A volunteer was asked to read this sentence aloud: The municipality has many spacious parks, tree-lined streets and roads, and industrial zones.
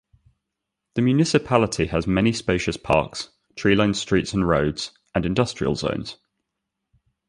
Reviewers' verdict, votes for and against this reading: accepted, 2, 0